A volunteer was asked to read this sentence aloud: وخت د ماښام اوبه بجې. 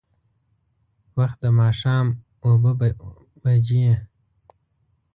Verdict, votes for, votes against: accepted, 2, 0